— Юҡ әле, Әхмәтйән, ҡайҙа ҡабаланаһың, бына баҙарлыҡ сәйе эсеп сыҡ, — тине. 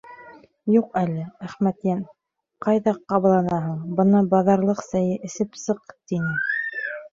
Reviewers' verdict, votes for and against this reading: rejected, 1, 2